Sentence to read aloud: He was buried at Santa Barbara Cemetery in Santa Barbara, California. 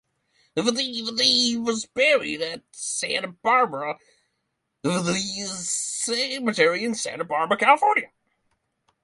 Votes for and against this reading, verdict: 0, 3, rejected